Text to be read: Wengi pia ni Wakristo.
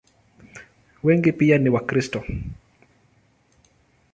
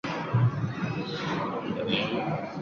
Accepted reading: first